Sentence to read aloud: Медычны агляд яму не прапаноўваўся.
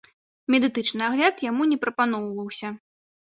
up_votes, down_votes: 0, 2